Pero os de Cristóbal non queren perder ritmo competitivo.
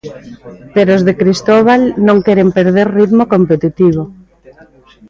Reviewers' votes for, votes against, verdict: 2, 0, accepted